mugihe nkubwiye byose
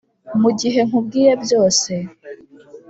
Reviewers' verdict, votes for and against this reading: accepted, 2, 0